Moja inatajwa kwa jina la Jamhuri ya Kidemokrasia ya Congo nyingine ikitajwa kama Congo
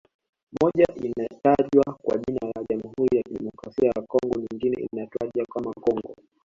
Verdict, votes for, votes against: accepted, 2, 1